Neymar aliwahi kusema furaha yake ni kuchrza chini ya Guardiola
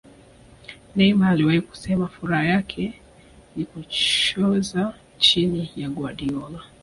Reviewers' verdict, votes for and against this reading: rejected, 0, 2